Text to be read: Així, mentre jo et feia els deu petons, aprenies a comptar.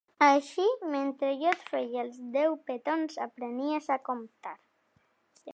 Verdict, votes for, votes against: accepted, 3, 0